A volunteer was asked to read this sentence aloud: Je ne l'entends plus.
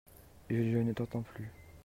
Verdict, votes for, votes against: rejected, 0, 2